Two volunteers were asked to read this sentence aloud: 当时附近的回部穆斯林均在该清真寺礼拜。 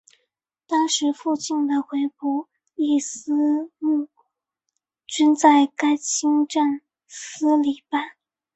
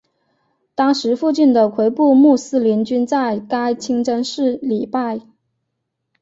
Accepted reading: second